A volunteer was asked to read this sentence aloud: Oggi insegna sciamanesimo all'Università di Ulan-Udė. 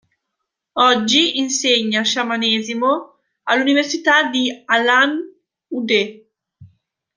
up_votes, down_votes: 0, 2